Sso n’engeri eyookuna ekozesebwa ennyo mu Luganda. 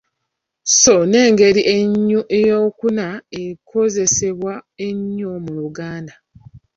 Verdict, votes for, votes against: rejected, 1, 2